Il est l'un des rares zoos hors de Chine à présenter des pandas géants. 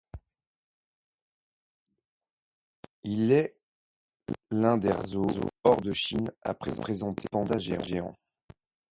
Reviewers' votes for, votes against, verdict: 0, 2, rejected